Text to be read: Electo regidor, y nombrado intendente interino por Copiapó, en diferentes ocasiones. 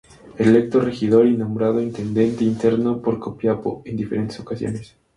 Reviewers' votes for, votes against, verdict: 0, 2, rejected